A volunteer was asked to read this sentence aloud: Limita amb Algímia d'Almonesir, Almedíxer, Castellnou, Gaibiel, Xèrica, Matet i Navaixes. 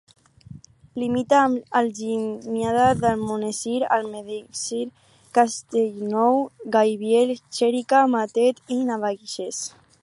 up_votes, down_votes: 2, 4